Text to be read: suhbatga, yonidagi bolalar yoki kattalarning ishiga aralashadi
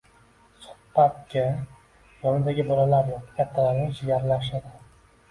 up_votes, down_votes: 1, 2